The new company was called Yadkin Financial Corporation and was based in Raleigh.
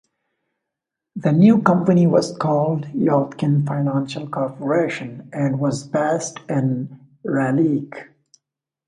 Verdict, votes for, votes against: rejected, 1, 2